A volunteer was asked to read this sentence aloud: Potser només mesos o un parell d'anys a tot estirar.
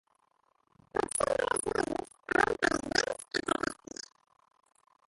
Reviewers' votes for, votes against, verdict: 0, 2, rejected